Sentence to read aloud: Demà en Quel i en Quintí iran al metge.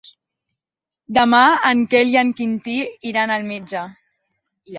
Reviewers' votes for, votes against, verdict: 2, 0, accepted